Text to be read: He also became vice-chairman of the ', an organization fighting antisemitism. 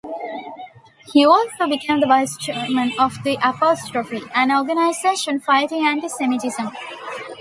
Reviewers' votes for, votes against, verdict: 2, 1, accepted